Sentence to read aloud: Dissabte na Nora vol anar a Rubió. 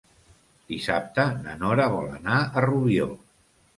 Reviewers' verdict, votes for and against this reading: accepted, 2, 1